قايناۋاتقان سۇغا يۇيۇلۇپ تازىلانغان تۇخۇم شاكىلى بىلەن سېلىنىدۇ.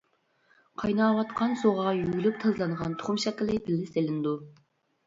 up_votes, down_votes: 1, 2